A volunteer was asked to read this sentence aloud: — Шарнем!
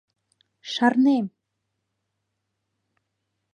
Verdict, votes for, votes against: accepted, 2, 0